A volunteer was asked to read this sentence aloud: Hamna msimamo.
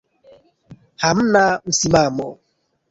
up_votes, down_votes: 2, 3